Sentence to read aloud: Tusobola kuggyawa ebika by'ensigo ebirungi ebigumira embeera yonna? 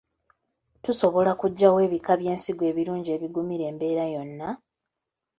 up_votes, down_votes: 2, 0